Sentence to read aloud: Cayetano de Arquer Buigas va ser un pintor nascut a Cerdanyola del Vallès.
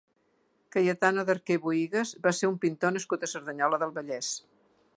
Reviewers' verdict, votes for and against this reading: accepted, 2, 0